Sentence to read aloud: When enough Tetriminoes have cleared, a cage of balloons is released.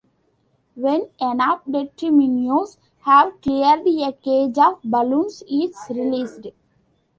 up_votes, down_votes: 1, 2